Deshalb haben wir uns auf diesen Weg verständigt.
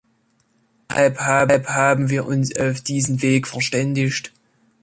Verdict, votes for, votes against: rejected, 0, 2